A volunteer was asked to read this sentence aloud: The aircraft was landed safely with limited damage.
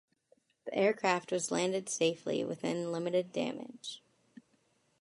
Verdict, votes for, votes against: rejected, 1, 2